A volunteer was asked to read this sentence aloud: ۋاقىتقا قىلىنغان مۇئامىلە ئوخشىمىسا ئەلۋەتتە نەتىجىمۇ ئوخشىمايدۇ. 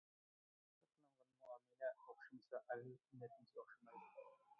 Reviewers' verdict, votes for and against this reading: rejected, 0, 2